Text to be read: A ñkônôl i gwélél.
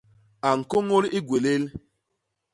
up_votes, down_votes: 0, 2